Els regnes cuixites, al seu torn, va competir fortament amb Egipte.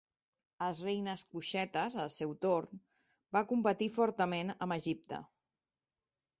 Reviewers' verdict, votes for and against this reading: rejected, 0, 2